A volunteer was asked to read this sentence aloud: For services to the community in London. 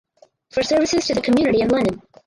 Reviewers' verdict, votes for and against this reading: rejected, 2, 2